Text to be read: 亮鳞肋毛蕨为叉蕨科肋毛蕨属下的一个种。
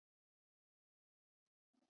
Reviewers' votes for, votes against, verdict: 0, 2, rejected